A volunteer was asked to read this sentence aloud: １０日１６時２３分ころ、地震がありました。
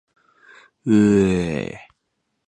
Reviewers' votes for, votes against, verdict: 0, 2, rejected